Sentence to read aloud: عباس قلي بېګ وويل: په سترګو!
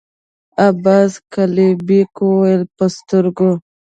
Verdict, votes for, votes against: accepted, 2, 0